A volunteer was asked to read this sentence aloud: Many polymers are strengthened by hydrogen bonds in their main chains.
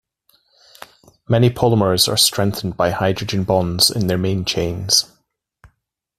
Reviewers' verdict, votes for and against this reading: accepted, 2, 0